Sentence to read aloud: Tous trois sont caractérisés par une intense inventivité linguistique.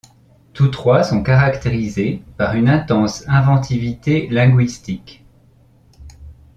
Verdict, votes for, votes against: accepted, 2, 0